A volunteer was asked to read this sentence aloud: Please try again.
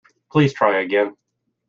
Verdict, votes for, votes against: accepted, 2, 0